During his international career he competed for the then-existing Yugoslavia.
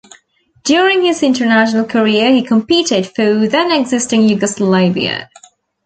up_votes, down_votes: 1, 2